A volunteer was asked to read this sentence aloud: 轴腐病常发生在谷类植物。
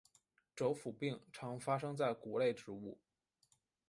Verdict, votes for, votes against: accepted, 2, 0